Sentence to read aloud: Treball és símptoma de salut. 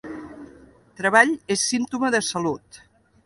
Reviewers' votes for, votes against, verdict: 2, 0, accepted